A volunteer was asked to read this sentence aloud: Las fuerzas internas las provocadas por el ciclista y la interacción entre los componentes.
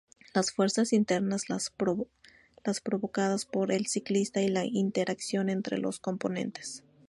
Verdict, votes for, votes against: rejected, 0, 2